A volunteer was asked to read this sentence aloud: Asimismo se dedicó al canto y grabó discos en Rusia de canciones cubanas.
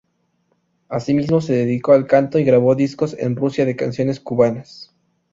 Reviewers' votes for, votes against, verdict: 2, 0, accepted